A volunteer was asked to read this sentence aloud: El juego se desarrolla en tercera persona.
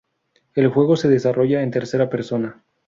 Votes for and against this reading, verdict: 2, 0, accepted